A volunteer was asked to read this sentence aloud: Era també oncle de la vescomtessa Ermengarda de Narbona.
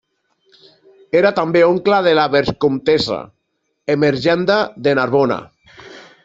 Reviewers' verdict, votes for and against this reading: rejected, 0, 2